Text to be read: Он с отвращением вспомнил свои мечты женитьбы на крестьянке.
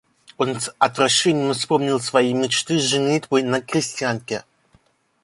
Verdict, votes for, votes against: accepted, 2, 1